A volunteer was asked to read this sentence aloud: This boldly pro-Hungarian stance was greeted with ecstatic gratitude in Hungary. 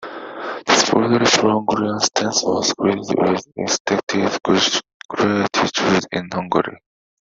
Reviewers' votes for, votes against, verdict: 0, 2, rejected